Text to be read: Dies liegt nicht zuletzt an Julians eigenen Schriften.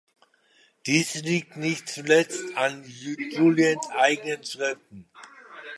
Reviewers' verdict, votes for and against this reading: rejected, 0, 2